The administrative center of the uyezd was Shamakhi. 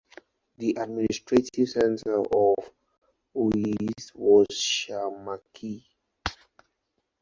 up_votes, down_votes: 0, 2